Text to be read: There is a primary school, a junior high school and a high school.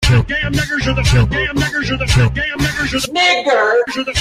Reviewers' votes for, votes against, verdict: 0, 2, rejected